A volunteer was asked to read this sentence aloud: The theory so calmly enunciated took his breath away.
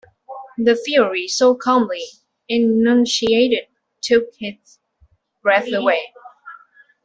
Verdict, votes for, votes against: rejected, 1, 2